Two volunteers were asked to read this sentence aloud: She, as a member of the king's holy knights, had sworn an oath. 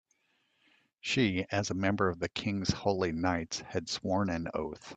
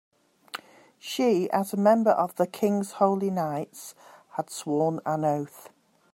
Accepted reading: second